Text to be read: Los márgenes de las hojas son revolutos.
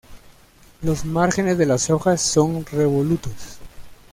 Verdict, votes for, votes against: accepted, 2, 0